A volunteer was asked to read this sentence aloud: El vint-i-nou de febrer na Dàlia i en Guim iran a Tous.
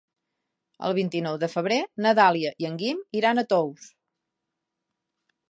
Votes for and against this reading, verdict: 4, 0, accepted